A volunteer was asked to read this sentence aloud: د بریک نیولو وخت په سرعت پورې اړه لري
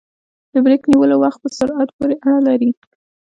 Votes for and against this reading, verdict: 2, 0, accepted